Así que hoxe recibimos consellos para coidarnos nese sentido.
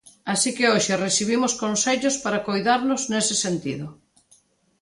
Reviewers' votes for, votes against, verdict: 2, 0, accepted